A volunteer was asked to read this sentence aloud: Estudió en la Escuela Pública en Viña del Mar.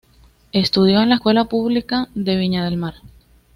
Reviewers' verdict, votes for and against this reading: accepted, 2, 0